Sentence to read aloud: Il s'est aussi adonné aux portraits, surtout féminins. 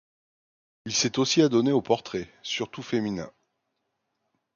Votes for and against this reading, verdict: 2, 0, accepted